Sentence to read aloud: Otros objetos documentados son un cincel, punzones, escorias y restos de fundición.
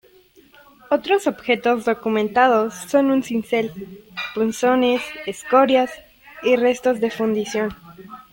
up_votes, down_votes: 1, 2